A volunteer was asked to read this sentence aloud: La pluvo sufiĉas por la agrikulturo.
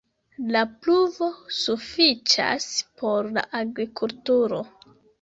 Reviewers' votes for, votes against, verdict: 3, 0, accepted